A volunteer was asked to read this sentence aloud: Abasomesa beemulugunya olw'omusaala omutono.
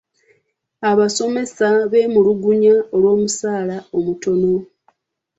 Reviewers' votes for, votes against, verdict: 2, 0, accepted